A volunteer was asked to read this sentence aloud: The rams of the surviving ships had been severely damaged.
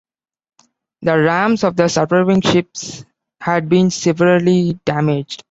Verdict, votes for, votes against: rejected, 1, 2